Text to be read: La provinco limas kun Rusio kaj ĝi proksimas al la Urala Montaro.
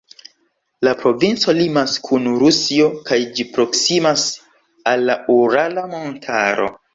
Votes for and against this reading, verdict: 2, 0, accepted